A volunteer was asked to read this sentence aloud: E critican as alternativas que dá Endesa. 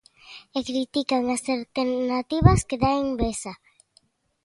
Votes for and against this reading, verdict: 1, 2, rejected